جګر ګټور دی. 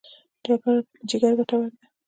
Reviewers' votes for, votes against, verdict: 1, 2, rejected